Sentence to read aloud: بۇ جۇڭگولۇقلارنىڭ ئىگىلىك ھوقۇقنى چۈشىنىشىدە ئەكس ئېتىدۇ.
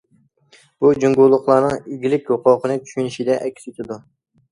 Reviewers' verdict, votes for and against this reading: accepted, 2, 0